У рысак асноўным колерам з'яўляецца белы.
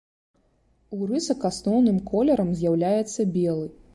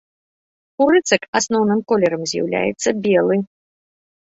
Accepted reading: first